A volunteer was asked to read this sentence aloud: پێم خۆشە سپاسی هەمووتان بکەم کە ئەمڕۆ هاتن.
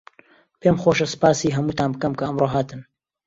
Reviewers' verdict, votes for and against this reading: accepted, 2, 1